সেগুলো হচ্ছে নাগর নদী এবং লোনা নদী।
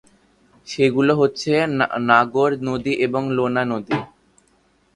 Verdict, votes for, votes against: rejected, 1, 2